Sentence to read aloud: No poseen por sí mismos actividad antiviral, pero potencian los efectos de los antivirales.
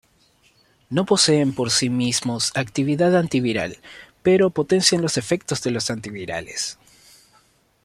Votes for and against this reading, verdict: 2, 0, accepted